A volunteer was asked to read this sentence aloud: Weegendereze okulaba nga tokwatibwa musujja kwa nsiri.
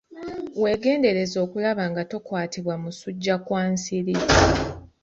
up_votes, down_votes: 0, 2